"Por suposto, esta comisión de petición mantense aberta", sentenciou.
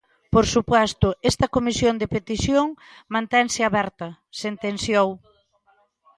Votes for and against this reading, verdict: 0, 2, rejected